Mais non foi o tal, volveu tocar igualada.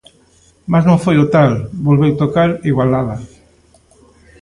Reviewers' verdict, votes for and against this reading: accepted, 2, 0